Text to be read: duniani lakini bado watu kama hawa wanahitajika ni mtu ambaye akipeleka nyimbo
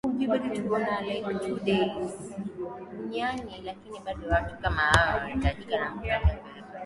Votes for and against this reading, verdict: 0, 2, rejected